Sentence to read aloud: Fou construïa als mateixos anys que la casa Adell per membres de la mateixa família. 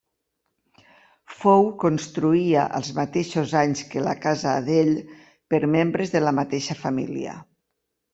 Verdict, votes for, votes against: accepted, 2, 0